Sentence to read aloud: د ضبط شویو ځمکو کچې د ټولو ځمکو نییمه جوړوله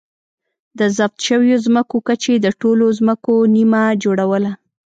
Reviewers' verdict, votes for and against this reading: rejected, 0, 2